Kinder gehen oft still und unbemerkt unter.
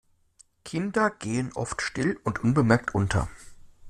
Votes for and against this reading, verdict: 2, 0, accepted